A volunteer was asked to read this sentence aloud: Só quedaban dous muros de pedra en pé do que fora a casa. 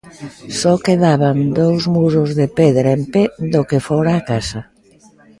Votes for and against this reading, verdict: 2, 0, accepted